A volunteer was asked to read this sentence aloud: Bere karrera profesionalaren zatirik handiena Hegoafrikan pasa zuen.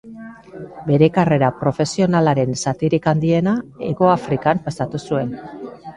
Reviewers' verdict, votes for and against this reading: rejected, 0, 2